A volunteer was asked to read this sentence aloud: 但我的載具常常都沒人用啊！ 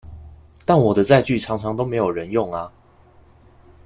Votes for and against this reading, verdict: 1, 2, rejected